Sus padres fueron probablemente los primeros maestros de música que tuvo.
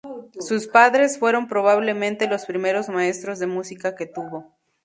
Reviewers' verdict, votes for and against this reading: accepted, 2, 0